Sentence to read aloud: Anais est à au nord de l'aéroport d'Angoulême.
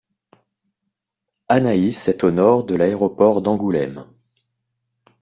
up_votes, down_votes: 1, 2